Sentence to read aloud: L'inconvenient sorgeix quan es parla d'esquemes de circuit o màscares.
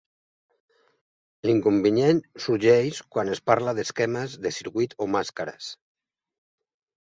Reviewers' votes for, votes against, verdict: 1, 2, rejected